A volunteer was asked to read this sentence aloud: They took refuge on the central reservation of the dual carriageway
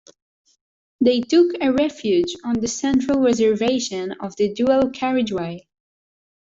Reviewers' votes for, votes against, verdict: 0, 2, rejected